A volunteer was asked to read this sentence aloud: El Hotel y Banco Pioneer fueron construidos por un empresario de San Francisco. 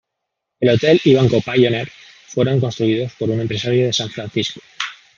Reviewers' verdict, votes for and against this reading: accepted, 2, 0